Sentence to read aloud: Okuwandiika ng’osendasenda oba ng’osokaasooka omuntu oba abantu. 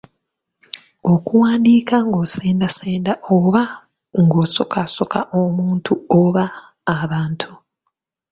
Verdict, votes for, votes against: accepted, 3, 0